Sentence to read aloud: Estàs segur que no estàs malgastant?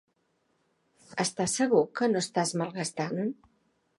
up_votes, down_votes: 3, 0